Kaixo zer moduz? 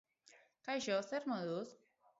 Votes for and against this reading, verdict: 2, 0, accepted